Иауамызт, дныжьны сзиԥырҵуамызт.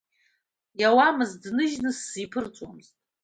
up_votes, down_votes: 2, 0